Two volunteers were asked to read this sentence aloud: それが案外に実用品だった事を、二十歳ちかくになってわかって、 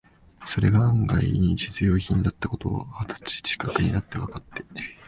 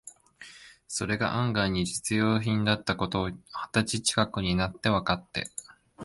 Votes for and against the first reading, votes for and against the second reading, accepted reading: 0, 2, 3, 0, second